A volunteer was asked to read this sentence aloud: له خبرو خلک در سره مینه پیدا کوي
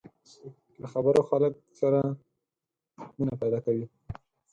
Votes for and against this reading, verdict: 2, 4, rejected